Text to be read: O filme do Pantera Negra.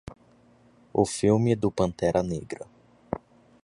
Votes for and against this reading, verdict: 2, 0, accepted